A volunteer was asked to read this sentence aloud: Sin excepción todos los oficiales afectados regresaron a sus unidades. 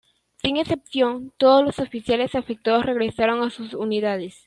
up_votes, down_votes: 2, 0